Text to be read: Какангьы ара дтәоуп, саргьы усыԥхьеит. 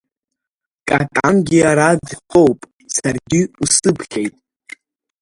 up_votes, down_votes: 0, 2